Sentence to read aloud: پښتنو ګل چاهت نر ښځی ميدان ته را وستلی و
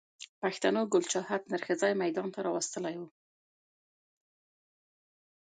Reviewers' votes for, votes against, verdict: 3, 0, accepted